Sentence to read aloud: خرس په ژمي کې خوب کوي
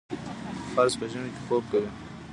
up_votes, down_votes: 0, 2